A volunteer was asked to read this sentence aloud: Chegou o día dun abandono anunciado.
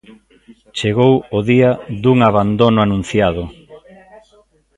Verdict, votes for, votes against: rejected, 0, 2